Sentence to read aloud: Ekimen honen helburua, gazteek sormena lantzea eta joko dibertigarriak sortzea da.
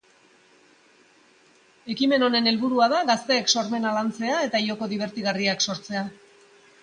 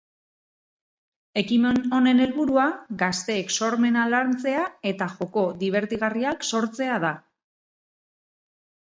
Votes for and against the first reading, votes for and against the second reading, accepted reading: 1, 3, 4, 0, second